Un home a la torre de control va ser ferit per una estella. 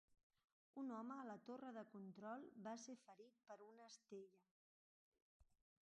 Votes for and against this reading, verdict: 0, 2, rejected